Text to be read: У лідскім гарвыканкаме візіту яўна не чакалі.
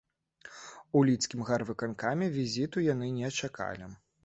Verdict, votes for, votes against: rejected, 1, 2